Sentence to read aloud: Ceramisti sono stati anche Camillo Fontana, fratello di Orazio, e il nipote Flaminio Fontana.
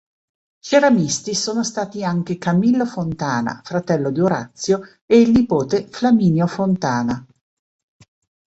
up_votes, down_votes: 2, 0